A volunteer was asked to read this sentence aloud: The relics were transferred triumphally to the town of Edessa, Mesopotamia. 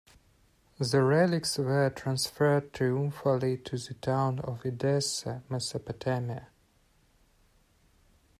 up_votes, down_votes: 1, 2